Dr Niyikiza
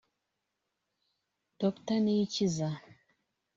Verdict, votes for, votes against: accepted, 3, 0